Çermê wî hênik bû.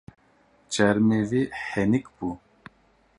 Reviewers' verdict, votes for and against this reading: rejected, 0, 2